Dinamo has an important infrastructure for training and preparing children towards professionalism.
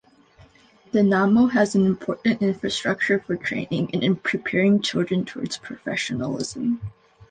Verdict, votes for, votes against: accepted, 2, 0